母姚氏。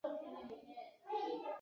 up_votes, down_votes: 1, 2